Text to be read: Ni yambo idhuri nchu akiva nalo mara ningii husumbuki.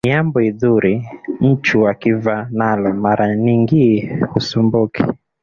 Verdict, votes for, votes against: accepted, 3, 1